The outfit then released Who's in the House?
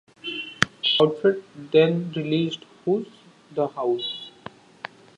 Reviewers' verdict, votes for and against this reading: rejected, 0, 2